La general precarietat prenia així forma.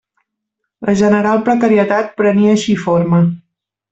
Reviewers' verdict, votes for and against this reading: rejected, 1, 2